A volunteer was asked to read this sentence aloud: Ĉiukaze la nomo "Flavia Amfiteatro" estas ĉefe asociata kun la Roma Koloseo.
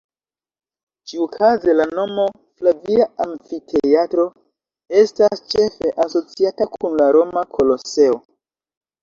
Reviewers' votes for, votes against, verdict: 1, 2, rejected